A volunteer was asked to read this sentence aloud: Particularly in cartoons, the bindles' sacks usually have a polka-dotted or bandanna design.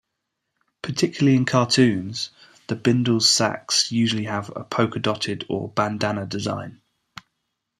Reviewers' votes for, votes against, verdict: 2, 0, accepted